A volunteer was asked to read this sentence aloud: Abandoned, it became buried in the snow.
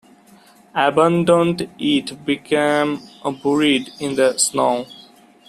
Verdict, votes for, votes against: rejected, 1, 2